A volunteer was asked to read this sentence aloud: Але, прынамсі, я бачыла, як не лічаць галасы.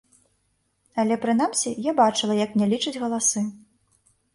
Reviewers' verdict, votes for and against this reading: accepted, 2, 0